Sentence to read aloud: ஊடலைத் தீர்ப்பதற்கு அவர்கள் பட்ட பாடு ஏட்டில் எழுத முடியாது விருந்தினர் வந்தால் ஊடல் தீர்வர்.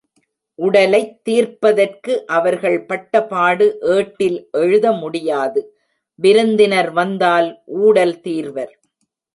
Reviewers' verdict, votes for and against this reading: rejected, 1, 2